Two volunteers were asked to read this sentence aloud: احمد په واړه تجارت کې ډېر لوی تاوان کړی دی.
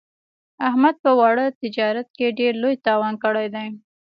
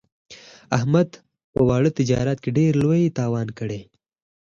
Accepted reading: second